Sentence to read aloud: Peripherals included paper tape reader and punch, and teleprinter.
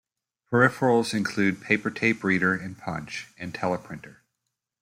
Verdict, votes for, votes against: rejected, 0, 2